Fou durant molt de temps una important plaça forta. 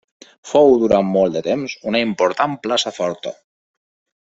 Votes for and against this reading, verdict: 1, 2, rejected